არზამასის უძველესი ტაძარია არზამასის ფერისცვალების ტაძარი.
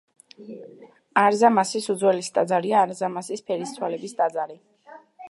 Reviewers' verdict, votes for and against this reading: accepted, 3, 0